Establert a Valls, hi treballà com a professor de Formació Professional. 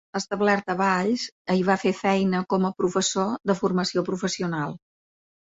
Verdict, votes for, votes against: rejected, 0, 2